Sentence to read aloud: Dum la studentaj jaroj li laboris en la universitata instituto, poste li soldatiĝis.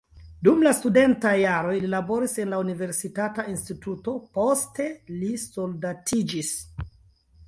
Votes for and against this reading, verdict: 2, 0, accepted